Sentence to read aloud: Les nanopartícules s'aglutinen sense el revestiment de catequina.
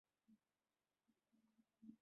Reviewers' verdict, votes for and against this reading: rejected, 0, 2